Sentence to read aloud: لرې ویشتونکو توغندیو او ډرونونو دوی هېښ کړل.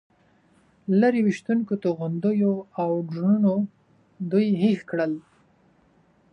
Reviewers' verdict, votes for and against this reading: accepted, 2, 0